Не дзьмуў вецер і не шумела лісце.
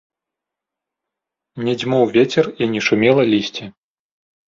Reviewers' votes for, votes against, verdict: 1, 2, rejected